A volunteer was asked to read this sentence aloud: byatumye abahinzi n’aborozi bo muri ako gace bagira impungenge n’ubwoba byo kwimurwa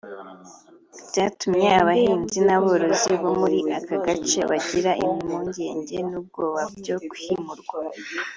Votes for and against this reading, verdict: 2, 0, accepted